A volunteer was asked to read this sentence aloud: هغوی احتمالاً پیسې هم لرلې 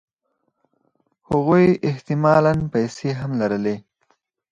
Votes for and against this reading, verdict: 4, 0, accepted